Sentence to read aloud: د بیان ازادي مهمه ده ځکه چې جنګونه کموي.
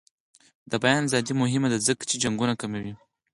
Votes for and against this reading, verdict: 0, 4, rejected